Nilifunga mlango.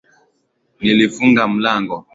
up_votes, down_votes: 2, 0